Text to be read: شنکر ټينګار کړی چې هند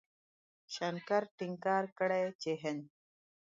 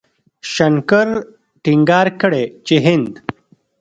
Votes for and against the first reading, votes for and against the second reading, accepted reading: 2, 0, 1, 2, first